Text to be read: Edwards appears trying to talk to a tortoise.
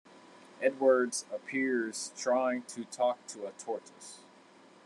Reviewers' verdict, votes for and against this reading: rejected, 1, 2